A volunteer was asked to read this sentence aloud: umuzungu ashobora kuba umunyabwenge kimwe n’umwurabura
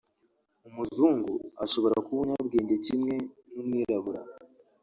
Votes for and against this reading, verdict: 1, 2, rejected